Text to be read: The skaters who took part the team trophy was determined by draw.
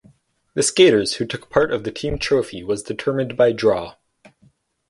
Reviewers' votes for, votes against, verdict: 4, 0, accepted